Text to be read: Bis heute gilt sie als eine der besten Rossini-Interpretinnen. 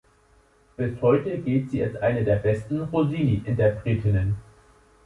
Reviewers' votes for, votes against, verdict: 2, 0, accepted